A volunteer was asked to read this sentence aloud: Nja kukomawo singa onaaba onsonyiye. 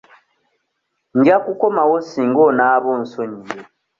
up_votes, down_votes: 2, 0